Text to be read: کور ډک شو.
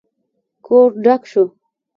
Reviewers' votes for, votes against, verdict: 2, 1, accepted